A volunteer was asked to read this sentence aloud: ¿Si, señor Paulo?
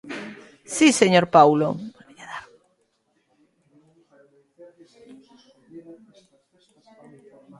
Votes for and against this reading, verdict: 0, 2, rejected